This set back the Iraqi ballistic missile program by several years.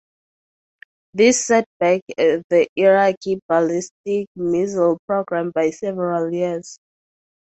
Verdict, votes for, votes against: rejected, 0, 2